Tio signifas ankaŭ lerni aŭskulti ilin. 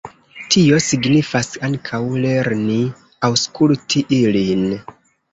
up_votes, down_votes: 2, 0